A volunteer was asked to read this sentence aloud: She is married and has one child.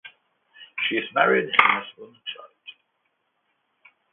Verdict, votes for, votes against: rejected, 0, 2